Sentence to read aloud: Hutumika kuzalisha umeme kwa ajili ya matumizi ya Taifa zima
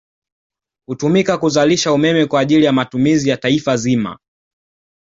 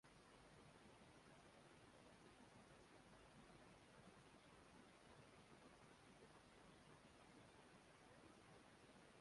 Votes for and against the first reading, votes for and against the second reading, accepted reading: 2, 0, 0, 2, first